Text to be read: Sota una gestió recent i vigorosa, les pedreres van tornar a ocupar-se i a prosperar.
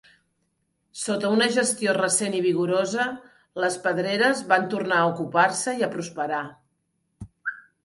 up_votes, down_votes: 2, 0